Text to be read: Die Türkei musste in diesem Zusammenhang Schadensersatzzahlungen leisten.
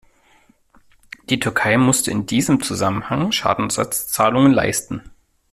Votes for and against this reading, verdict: 0, 2, rejected